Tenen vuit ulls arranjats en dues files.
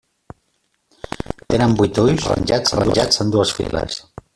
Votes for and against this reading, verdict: 0, 3, rejected